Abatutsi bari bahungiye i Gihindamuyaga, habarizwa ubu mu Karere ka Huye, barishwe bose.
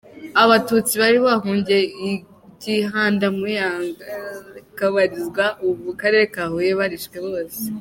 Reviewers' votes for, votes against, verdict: 0, 3, rejected